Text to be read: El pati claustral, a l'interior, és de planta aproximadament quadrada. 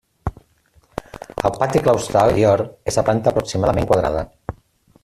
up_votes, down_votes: 0, 2